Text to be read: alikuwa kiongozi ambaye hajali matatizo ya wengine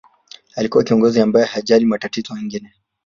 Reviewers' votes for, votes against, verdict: 0, 2, rejected